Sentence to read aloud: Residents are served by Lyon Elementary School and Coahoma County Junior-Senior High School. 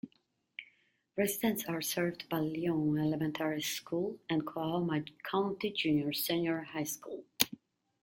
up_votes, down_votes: 1, 2